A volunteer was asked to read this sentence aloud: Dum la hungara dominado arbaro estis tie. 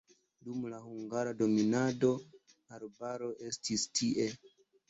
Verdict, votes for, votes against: accepted, 2, 1